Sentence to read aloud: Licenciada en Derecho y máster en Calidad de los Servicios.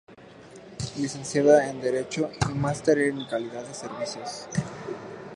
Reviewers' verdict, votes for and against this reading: rejected, 0, 2